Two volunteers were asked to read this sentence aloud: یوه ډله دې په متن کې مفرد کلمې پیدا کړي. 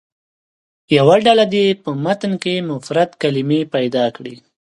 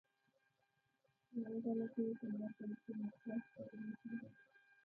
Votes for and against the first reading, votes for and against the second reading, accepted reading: 2, 0, 0, 2, first